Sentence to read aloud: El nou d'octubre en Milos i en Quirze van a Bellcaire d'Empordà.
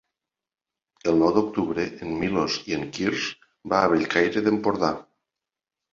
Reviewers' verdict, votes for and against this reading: rejected, 0, 2